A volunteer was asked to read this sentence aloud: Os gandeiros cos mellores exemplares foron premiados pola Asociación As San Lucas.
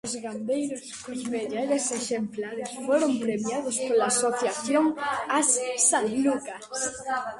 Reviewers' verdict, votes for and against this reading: rejected, 0, 2